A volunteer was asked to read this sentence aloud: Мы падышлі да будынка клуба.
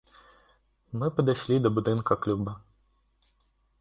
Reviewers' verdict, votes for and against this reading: rejected, 2, 3